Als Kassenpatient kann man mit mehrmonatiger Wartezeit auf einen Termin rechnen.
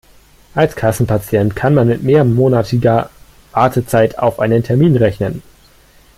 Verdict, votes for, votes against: rejected, 1, 2